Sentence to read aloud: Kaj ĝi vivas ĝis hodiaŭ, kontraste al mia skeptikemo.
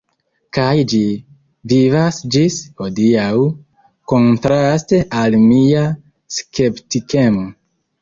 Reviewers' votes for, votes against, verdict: 1, 2, rejected